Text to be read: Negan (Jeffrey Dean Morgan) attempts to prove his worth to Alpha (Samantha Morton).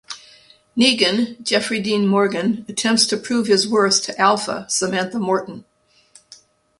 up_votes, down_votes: 2, 0